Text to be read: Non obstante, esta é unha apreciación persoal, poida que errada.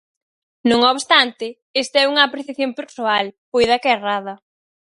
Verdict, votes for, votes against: accepted, 4, 0